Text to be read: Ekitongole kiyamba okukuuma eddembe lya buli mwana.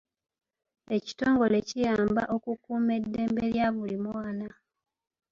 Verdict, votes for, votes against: rejected, 0, 2